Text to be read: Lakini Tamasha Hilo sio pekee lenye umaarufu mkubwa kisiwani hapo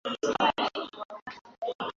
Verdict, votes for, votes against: rejected, 0, 2